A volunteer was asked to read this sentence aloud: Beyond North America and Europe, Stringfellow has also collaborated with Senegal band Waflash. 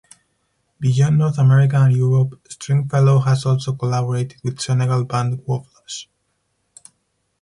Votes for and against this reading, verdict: 4, 0, accepted